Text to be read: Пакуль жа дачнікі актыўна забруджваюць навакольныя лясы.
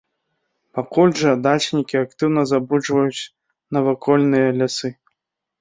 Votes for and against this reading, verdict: 2, 0, accepted